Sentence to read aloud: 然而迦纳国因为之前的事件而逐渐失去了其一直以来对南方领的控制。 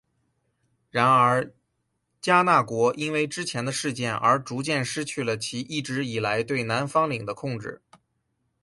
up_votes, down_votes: 10, 2